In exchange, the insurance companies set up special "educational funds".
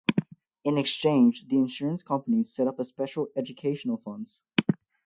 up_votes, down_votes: 0, 4